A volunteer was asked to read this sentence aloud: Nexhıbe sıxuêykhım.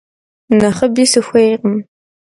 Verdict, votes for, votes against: rejected, 0, 2